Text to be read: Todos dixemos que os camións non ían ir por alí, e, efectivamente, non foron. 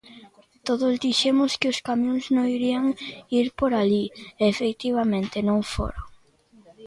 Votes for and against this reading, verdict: 0, 2, rejected